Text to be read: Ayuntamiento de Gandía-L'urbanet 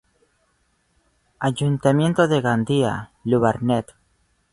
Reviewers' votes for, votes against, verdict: 0, 2, rejected